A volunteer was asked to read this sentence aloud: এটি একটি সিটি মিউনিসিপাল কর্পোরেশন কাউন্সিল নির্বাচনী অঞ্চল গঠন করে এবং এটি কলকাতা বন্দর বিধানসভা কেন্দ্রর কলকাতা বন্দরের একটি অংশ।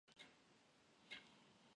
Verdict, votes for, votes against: rejected, 0, 2